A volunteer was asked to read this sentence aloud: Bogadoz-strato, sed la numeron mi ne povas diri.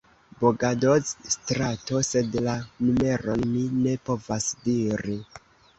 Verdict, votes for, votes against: accepted, 2, 0